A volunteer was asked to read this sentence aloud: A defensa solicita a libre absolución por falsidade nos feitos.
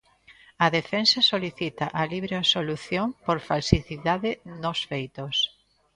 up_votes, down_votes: 0, 2